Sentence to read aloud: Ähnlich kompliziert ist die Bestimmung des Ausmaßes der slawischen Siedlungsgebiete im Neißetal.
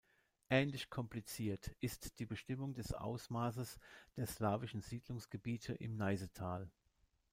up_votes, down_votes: 0, 2